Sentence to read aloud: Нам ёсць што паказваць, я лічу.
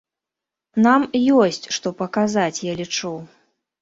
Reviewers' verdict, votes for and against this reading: rejected, 0, 3